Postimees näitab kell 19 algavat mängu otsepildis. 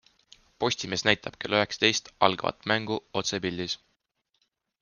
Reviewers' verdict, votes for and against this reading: rejected, 0, 2